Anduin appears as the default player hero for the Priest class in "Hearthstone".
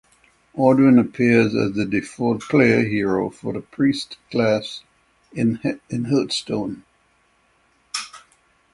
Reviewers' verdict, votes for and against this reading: rejected, 0, 6